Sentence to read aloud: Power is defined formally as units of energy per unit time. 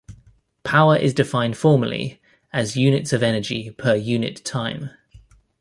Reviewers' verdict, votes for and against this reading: accepted, 2, 0